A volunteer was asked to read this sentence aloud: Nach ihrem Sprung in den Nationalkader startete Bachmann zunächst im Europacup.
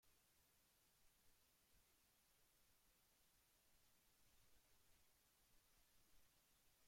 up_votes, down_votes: 0, 2